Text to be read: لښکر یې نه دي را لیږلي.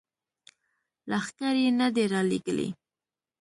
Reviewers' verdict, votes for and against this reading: accepted, 2, 0